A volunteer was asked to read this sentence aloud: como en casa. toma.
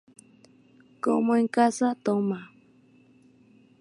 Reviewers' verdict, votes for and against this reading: accepted, 2, 0